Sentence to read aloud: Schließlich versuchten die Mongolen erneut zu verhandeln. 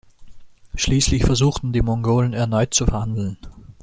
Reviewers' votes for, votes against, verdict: 2, 0, accepted